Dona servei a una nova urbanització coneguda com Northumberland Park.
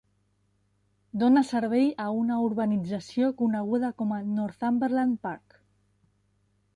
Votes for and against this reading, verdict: 1, 2, rejected